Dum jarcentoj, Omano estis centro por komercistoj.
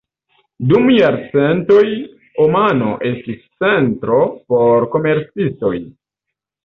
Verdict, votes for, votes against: rejected, 1, 2